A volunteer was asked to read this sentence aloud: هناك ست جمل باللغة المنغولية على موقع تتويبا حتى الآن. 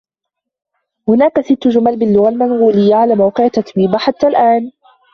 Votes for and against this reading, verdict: 3, 2, accepted